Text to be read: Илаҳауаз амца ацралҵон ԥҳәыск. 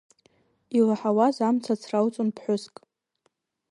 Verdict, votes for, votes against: accepted, 2, 0